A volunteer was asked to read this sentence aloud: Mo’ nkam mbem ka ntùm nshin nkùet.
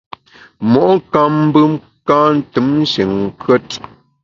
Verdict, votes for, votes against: accepted, 2, 0